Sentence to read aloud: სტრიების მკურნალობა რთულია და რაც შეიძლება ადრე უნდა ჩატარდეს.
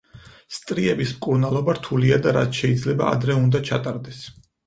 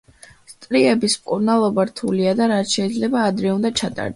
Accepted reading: first